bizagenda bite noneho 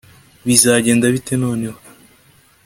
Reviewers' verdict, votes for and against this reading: accepted, 2, 0